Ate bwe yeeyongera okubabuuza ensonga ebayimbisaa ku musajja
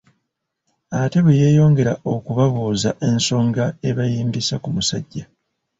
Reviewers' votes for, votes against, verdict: 2, 0, accepted